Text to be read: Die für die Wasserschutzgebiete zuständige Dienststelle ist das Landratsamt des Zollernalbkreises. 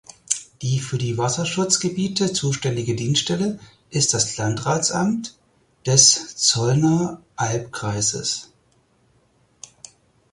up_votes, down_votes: 2, 4